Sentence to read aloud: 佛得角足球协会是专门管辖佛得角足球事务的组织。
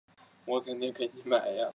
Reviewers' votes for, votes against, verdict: 0, 2, rejected